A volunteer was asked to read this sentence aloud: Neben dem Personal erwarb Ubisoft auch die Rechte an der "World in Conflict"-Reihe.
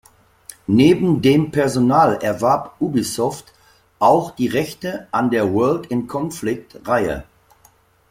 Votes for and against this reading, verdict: 2, 0, accepted